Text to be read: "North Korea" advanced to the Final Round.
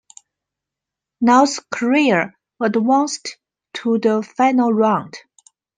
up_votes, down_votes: 2, 1